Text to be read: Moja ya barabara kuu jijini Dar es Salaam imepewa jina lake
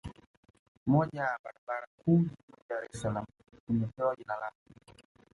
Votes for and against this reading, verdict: 1, 3, rejected